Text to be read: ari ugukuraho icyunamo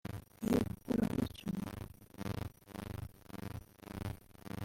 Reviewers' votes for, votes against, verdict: 0, 2, rejected